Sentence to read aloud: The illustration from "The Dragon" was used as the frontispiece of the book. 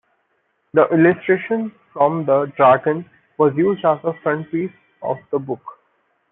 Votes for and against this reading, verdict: 1, 2, rejected